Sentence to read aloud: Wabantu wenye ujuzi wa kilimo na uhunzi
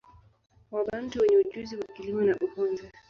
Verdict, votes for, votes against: rejected, 0, 2